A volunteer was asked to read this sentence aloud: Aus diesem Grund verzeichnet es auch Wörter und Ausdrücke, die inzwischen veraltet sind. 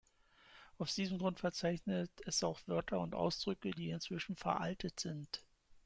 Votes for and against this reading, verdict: 2, 0, accepted